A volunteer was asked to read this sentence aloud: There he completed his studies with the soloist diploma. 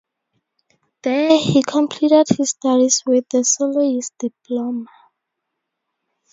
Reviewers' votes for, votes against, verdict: 2, 4, rejected